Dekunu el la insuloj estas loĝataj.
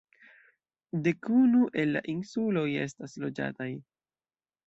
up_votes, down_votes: 2, 0